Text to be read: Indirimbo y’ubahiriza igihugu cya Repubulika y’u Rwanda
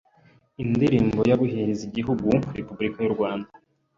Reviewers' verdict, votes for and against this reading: rejected, 1, 2